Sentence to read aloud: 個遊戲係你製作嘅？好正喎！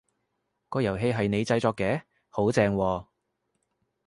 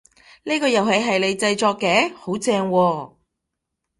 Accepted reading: first